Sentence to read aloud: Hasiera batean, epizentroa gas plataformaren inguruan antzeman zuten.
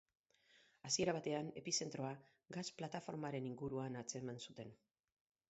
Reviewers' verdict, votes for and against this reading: rejected, 2, 2